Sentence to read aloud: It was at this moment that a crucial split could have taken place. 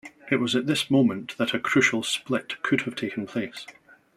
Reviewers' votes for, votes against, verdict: 3, 0, accepted